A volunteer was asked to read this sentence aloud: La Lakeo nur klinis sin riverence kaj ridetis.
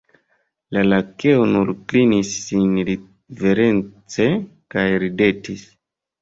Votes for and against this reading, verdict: 1, 2, rejected